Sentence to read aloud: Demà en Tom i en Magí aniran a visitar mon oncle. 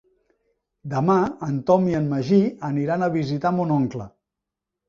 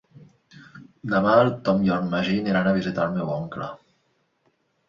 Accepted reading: first